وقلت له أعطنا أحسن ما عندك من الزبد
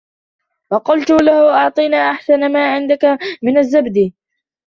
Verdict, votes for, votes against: rejected, 1, 2